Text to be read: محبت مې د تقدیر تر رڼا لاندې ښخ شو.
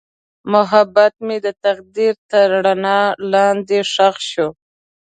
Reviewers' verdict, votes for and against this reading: accepted, 2, 0